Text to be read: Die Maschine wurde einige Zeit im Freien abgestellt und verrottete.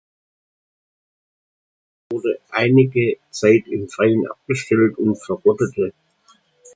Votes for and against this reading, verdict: 0, 2, rejected